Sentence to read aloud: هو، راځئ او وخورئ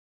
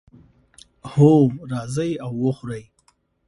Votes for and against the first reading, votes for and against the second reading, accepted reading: 0, 2, 2, 0, second